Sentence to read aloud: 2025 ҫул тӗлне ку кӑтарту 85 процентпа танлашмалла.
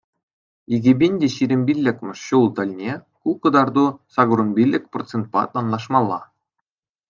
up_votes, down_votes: 0, 2